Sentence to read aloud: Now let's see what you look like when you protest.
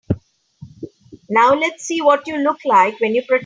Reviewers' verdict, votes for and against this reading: rejected, 0, 3